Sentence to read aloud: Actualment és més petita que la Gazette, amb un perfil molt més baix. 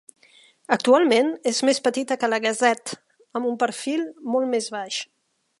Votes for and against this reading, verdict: 3, 0, accepted